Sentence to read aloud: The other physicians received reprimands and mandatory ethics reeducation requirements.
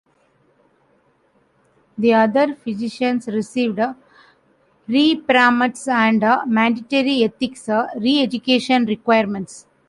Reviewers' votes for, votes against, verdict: 1, 2, rejected